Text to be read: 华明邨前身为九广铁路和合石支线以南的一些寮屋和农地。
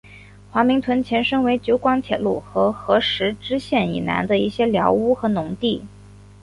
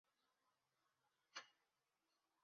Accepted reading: first